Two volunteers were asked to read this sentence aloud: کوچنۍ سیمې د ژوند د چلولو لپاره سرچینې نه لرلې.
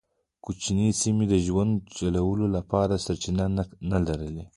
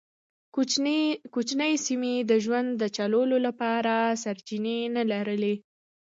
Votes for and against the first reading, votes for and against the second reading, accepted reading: 0, 2, 2, 1, second